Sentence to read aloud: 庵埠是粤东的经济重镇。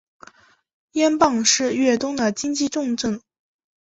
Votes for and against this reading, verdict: 3, 2, accepted